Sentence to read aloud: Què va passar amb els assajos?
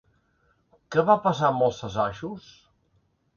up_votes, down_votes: 2, 0